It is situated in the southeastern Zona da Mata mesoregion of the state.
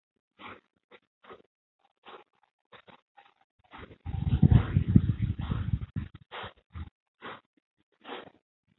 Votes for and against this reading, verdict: 0, 2, rejected